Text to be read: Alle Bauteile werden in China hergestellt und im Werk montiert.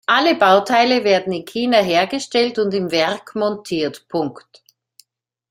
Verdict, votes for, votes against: rejected, 0, 2